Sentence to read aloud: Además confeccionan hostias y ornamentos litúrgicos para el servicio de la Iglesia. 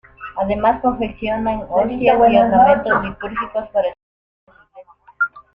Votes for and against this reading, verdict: 0, 2, rejected